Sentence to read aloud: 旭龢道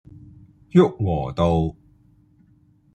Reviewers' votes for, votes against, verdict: 2, 0, accepted